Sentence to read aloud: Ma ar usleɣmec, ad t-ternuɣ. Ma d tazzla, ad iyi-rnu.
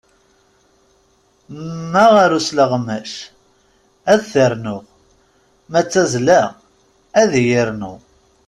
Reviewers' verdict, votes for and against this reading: rejected, 1, 2